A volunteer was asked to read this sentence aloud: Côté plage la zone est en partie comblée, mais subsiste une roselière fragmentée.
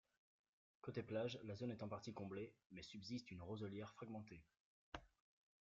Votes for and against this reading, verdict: 2, 1, accepted